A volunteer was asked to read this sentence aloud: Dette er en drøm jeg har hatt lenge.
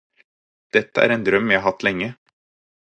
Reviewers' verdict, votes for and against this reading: rejected, 2, 4